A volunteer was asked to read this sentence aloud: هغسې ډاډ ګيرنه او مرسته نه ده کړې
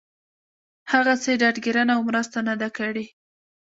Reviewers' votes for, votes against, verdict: 2, 0, accepted